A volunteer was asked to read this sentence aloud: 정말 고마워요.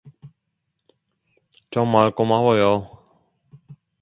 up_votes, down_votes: 2, 0